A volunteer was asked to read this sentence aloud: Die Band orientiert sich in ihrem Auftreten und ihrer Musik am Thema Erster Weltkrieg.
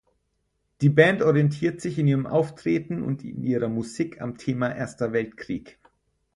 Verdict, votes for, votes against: rejected, 2, 4